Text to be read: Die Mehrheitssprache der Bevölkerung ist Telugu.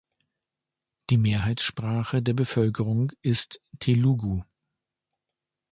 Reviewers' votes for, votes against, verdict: 2, 0, accepted